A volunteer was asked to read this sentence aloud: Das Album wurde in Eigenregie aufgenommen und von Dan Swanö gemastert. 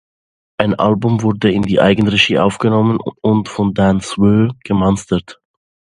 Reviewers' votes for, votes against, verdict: 0, 2, rejected